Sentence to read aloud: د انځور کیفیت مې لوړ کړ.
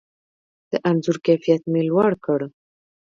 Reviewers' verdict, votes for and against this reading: rejected, 1, 2